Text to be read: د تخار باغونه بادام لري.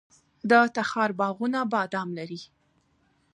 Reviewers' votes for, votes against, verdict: 2, 1, accepted